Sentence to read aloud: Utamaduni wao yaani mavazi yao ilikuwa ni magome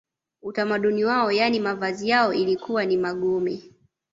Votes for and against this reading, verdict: 2, 0, accepted